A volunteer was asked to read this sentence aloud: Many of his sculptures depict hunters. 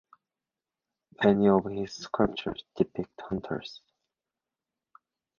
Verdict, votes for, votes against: accepted, 2, 0